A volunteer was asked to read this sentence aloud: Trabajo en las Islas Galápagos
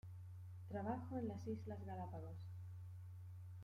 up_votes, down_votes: 0, 2